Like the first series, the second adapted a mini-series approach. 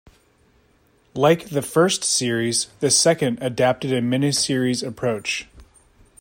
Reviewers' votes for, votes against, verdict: 2, 0, accepted